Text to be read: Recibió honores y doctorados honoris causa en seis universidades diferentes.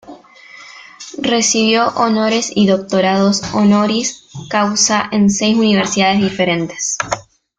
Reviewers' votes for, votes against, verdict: 2, 1, accepted